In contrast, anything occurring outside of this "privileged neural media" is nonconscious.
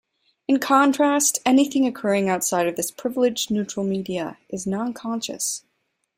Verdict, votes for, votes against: rejected, 1, 2